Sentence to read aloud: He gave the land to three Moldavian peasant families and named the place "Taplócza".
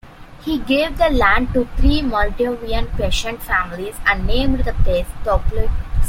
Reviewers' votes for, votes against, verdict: 0, 2, rejected